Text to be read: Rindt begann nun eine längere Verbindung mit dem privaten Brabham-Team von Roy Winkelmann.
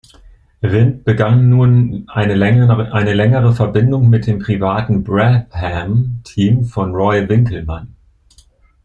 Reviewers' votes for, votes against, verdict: 1, 2, rejected